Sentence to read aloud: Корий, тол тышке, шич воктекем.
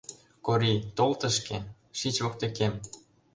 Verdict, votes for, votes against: accepted, 2, 0